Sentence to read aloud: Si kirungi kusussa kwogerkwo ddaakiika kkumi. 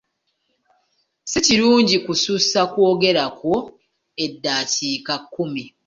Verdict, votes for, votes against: accepted, 2, 1